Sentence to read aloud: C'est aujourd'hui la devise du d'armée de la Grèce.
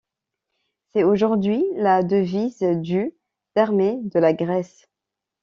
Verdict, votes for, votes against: accepted, 2, 0